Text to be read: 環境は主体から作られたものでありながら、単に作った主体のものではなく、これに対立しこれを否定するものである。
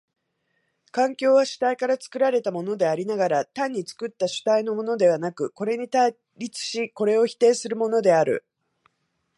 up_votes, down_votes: 1, 2